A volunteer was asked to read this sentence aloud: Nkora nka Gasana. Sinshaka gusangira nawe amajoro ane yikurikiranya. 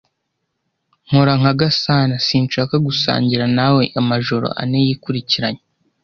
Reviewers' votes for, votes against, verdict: 2, 0, accepted